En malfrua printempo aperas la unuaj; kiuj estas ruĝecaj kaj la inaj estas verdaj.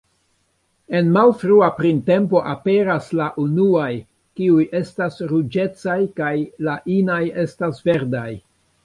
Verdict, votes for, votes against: accepted, 2, 1